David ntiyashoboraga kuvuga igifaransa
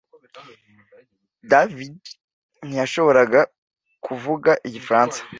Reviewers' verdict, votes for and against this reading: accepted, 2, 0